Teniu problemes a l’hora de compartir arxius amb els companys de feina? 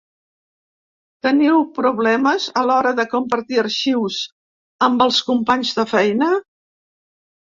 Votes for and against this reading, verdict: 4, 0, accepted